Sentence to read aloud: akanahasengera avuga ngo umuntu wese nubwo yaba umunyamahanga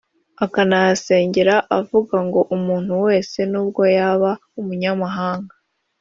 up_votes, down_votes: 3, 0